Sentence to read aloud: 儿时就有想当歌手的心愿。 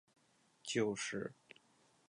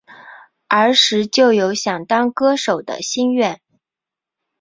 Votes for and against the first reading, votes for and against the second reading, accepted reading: 0, 3, 2, 0, second